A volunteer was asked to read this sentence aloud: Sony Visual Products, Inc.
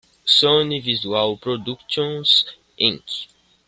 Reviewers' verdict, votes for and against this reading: accepted, 2, 0